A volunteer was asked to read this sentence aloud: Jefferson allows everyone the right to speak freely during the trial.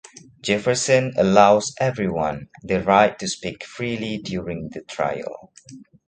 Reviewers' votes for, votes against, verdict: 2, 0, accepted